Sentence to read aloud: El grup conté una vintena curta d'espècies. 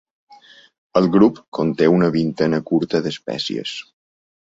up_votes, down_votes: 2, 0